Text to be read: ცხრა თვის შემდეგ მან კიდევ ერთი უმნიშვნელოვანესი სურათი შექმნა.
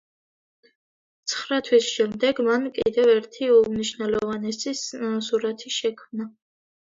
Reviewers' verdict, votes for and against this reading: accepted, 2, 0